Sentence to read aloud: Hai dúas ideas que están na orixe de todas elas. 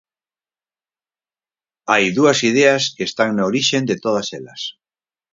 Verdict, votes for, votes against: rejected, 0, 4